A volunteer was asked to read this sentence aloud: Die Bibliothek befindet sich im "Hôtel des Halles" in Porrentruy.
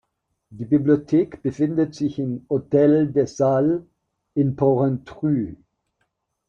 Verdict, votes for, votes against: rejected, 1, 3